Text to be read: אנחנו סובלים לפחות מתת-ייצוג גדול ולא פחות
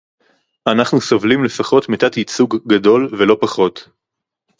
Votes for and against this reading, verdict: 2, 2, rejected